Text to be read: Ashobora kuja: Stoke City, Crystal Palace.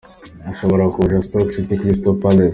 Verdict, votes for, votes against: accepted, 2, 0